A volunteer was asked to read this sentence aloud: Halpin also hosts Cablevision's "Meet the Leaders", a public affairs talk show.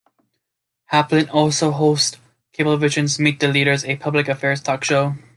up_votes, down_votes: 1, 2